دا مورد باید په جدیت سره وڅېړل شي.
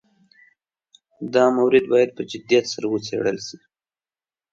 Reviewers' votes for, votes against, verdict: 2, 0, accepted